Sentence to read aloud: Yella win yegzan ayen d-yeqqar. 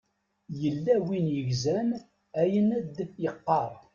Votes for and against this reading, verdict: 1, 2, rejected